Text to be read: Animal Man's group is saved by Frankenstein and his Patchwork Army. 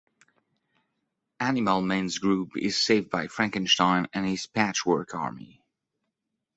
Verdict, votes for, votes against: accepted, 2, 0